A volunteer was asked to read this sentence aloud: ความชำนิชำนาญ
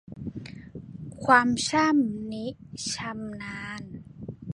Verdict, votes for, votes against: rejected, 0, 2